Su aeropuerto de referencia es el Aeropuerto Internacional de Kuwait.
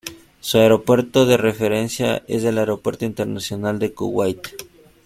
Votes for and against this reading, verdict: 2, 0, accepted